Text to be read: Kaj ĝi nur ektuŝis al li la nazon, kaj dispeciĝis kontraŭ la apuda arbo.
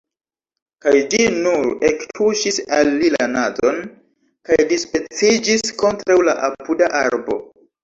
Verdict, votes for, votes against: accepted, 2, 0